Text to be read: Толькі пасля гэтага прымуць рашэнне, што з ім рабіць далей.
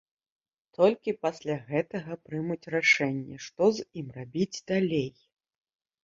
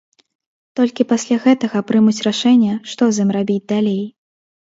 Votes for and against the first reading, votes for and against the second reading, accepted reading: 1, 2, 2, 0, second